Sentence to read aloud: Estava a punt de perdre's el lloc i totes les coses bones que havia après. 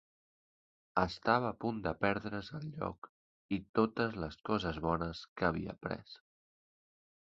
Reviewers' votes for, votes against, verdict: 2, 0, accepted